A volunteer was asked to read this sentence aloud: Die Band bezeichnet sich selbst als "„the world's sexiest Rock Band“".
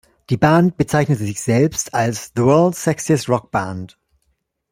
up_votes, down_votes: 1, 2